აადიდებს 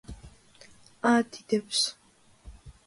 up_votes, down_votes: 2, 0